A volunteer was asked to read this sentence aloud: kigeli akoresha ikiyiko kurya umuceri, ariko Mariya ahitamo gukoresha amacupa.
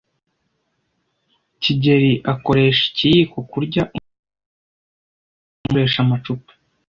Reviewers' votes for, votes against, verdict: 0, 2, rejected